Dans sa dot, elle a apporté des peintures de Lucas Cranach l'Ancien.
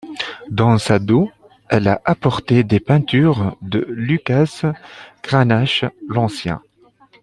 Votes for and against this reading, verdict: 1, 2, rejected